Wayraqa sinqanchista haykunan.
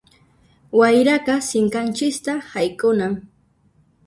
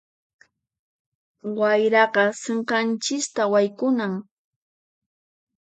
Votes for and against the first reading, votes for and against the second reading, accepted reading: 1, 2, 4, 2, second